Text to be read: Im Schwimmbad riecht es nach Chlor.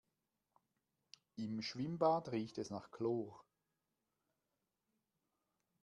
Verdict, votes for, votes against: rejected, 0, 2